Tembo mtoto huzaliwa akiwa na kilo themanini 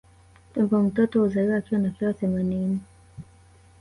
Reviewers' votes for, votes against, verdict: 1, 2, rejected